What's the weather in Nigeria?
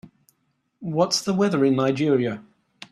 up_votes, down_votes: 2, 1